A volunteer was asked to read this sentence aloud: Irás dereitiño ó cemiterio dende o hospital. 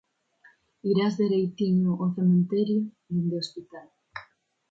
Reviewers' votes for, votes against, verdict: 2, 0, accepted